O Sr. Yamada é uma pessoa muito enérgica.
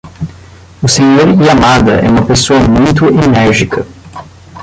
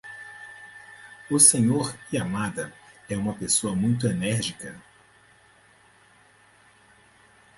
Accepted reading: second